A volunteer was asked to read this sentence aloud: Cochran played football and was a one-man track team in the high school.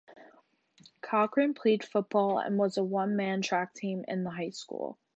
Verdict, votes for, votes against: accepted, 2, 0